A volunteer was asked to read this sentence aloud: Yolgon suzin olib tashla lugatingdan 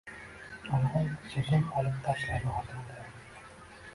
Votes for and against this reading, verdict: 0, 2, rejected